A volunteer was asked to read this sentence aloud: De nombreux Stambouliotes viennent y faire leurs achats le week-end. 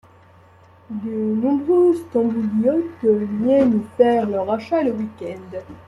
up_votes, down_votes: 2, 1